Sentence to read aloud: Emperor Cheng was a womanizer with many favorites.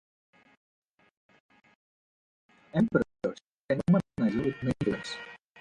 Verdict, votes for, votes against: rejected, 0, 2